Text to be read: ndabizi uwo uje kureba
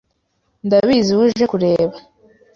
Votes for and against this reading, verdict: 2, 0, accepted